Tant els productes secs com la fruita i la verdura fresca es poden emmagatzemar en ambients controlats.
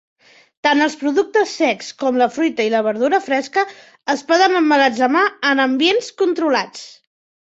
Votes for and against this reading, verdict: 3, 0, accepted